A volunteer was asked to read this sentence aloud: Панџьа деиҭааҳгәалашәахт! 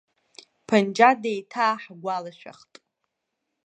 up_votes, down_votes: 2, 0